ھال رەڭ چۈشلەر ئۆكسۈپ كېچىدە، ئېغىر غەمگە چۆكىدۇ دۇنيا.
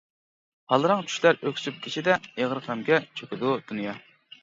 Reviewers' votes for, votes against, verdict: 1, 2, rejected